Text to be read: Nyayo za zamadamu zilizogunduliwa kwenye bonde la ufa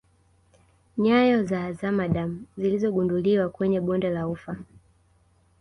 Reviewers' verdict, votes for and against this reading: rejected, 0, 2